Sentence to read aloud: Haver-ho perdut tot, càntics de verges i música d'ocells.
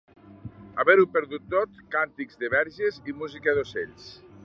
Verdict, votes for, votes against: accepted, 2, 0